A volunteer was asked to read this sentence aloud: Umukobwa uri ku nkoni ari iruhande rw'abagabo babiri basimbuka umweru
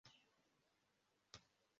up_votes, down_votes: 0, 2